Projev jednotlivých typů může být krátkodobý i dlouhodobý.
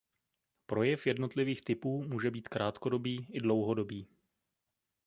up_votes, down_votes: 2, 0